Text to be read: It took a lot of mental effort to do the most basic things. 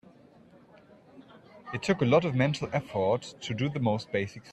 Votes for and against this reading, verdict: 0, 3, rejected